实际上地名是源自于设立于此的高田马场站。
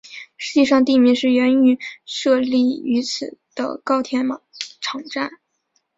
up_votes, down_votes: 8, 1